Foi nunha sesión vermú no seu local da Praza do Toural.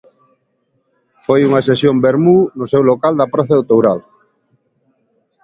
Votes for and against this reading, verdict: 0, 2, rejected